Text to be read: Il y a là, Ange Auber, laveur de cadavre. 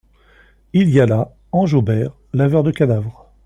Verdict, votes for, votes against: accepted, 2, 0